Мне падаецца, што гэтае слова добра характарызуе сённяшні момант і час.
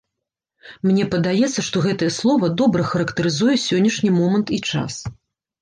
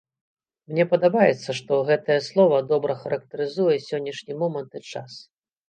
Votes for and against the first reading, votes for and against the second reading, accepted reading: 3, 0, 0, 2, first